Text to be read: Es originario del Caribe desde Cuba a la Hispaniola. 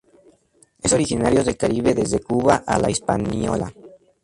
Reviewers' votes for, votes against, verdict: 0, 2, rejected